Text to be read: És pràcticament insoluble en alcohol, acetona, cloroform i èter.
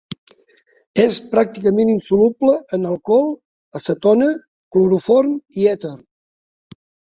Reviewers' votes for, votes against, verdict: 2, 1, accepted